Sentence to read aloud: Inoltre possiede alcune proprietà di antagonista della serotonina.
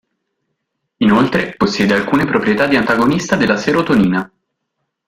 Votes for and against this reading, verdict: 1, 2, rejected